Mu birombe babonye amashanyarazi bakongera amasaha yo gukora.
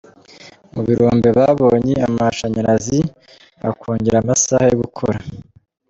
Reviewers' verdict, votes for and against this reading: accepted, 2, 0